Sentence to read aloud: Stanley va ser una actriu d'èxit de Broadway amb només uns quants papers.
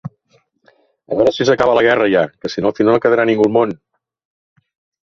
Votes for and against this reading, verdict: 0, 2, rejected